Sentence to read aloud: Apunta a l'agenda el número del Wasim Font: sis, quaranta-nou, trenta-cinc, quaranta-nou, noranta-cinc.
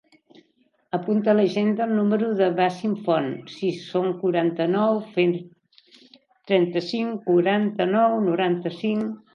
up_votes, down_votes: 1, 3